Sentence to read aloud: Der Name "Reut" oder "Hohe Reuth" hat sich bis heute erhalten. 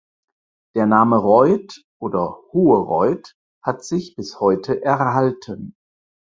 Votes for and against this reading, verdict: 4, 0, accepted